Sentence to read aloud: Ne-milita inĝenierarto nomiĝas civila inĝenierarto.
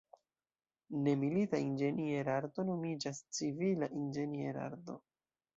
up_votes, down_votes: 0, 2